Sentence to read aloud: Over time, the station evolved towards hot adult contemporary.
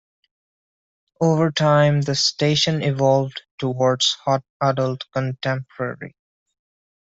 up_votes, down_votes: 2, 0